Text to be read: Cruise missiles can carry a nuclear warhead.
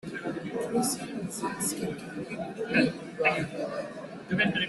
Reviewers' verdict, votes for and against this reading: rejected, 0, 2